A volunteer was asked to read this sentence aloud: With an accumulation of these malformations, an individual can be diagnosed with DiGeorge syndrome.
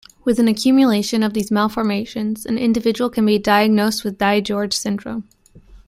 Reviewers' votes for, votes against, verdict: 2, 0, accepted